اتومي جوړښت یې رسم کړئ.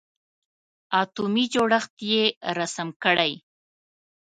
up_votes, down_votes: 1, 2